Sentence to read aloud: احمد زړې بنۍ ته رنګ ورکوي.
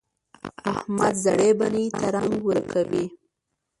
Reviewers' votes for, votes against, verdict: 0, 2, rejected